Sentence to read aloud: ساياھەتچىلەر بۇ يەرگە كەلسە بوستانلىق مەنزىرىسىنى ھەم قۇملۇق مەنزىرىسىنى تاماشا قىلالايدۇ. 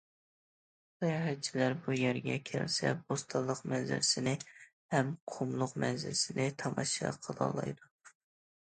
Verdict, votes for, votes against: accepted, 2, 0